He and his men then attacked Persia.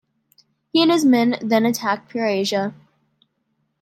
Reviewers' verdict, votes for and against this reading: rejected, 1, 2